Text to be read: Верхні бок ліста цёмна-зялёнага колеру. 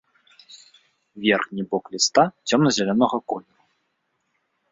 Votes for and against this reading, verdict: 1, 2, rejected